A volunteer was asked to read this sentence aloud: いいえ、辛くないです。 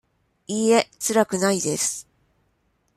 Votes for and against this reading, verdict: 2, 0, accepted